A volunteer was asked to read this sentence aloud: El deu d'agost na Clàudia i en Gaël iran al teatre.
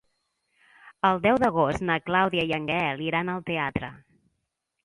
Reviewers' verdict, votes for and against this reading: accepted, 2, 0